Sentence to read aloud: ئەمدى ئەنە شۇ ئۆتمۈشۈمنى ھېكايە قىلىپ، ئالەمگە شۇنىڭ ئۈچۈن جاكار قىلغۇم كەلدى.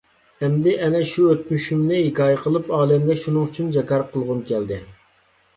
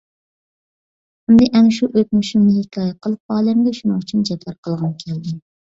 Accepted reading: first